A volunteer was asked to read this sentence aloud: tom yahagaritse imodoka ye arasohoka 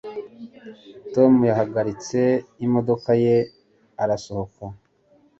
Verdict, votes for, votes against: accepted, 2, 0